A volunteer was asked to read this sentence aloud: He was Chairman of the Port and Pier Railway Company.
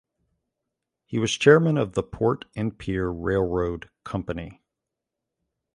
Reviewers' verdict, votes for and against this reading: rejected, 0, 2